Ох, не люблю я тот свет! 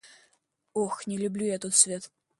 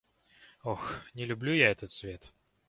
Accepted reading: first